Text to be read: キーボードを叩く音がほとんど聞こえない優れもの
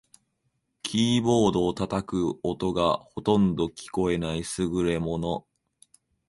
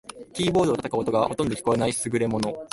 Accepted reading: second